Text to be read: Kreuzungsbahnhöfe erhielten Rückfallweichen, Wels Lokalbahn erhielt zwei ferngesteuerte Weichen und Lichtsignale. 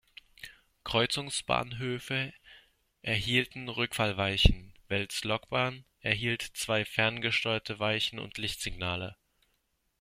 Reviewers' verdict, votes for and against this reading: rejected, 0, 2